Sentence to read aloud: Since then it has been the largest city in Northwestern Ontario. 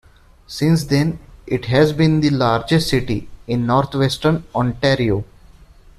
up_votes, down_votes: 3, 0